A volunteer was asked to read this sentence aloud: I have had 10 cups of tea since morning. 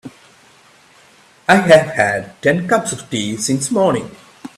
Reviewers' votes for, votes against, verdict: 0, 2, rejected